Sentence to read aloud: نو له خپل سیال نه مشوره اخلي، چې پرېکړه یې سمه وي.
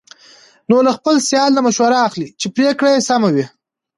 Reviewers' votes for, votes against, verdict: 2, 1, accepted